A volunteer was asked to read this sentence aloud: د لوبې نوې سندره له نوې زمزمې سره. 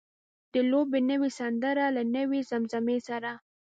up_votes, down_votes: 2, 0